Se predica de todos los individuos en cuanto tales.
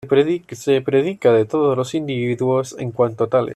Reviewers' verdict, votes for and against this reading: rejected, 1, 2